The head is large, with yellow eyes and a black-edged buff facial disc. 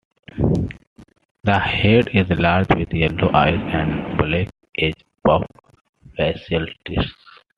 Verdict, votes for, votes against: rejected, 1, 2